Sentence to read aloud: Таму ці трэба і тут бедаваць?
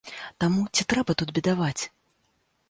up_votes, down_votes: 0, 2